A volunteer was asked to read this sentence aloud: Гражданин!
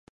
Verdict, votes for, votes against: rejected, 0, 2